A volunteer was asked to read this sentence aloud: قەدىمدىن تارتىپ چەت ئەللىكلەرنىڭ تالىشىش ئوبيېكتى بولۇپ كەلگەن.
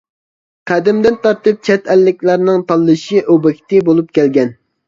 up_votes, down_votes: 1, 2